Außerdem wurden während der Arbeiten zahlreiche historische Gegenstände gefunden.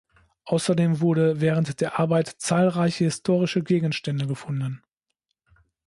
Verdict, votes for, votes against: rejected, 0, 2